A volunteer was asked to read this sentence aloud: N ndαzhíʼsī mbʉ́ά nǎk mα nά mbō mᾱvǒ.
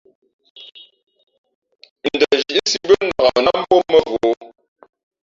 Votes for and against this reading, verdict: 0, 3, rejected